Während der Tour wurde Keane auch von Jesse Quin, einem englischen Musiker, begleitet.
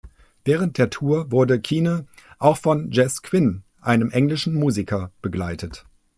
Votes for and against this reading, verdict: 1, 2, rejected